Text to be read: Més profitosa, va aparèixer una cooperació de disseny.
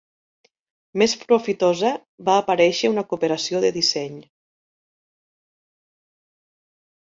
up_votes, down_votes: 2, 0